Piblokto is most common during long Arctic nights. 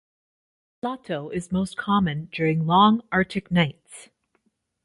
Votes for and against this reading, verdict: 1, 2, rejected